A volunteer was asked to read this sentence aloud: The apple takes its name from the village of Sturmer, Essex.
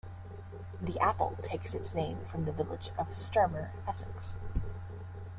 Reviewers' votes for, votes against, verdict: 2, 0, accepted